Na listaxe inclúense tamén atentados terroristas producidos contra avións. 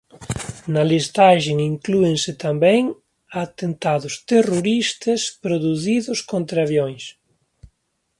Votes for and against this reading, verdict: 1, 2, rejected